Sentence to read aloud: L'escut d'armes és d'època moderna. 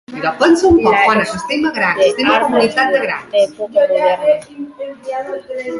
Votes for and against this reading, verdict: 0, 3, rejected